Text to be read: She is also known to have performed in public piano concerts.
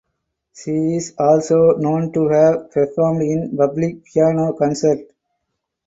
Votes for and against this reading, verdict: 4, 2, accepted